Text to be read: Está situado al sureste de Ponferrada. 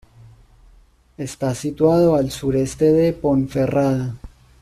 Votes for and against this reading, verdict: 2, 0, accepted